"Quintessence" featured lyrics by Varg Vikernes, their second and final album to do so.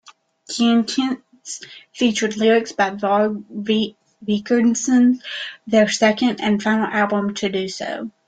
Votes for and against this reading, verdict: 0, 2, rejected